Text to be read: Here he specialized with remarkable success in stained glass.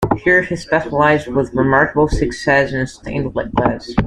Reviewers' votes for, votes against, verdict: 0, 2, rejected